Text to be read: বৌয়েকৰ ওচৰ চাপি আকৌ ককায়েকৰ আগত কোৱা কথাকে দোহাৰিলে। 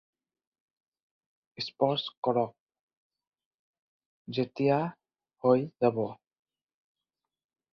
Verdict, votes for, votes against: rejected, 0, 4